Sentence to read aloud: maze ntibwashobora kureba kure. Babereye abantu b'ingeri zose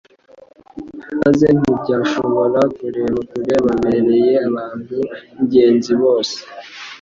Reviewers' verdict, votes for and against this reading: rejected, 0, 2